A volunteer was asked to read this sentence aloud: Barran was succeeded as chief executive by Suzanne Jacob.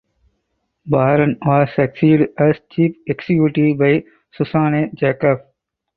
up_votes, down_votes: 2, 4